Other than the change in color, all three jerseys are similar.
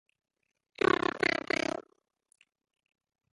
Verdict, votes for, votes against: rejected, 0, 2